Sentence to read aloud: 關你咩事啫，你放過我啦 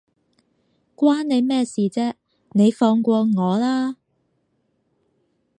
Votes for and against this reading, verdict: 4, 0, accepted